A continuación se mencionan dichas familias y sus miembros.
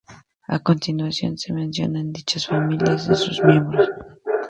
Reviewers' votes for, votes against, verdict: 2, 2, rejected